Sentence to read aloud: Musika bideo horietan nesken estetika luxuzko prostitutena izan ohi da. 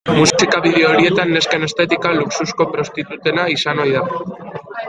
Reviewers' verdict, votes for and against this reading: rejected, 0, 2